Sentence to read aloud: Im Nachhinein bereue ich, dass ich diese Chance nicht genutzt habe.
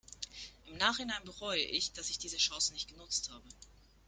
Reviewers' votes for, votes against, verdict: 2, 0, accepted